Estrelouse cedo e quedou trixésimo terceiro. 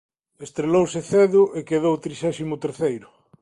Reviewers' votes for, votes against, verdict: 2, 1, accepted